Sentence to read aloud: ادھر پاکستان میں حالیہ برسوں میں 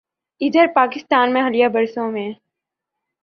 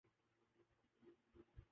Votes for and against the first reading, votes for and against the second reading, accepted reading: 4, 0, 0, 2, first